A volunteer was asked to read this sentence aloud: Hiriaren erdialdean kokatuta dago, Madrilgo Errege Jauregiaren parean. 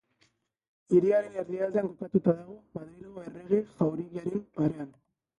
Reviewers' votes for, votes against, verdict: 3, 0, accepted